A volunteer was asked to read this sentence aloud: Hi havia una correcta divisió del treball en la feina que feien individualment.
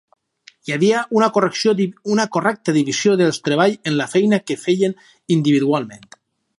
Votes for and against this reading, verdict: 0, 4, rejected